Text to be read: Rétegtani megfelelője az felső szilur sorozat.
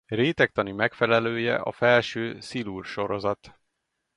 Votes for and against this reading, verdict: 0, 2, rejected